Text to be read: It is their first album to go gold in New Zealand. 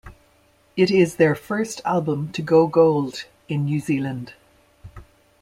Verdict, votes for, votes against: accepted, 2, 0